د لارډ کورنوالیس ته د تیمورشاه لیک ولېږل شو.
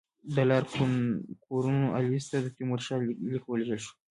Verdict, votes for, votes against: accepted, 2, 1